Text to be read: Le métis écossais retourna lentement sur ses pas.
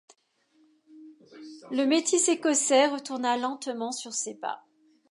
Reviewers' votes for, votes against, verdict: 2, 0, accepted